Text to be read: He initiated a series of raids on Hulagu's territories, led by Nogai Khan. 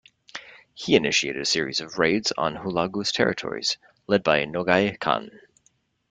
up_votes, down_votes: 2, 0